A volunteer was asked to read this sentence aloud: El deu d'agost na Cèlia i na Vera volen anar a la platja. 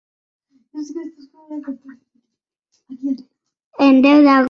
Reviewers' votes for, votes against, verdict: 0, 2, rejected